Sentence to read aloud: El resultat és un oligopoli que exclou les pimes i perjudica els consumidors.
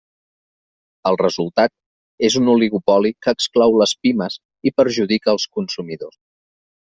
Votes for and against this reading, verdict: 2, 0, accepted